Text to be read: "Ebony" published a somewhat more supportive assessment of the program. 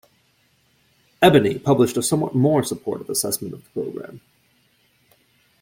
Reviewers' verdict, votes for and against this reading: accepted, 2, 1